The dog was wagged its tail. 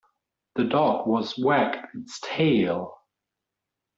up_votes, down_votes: 1, 2